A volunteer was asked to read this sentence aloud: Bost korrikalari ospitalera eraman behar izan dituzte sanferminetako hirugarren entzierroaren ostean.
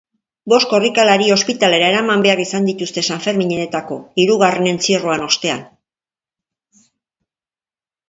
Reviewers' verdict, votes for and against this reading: accepted, 2, 1